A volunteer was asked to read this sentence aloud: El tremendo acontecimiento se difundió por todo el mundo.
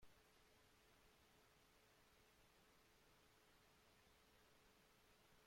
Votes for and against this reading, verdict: 0, 2, rejected